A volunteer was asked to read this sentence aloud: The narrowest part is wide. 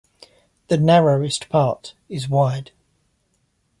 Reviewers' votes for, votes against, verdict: 2, 0, accepted